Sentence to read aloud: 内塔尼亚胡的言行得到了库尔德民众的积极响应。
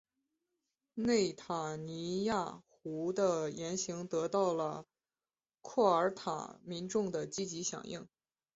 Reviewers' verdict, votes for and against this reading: rejected, 0, 2